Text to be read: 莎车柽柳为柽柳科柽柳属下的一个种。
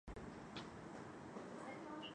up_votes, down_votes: 0, 2